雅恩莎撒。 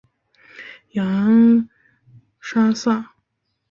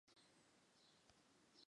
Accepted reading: first